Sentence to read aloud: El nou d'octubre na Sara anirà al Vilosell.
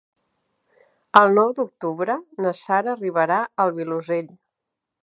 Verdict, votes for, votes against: rejected, 0, 2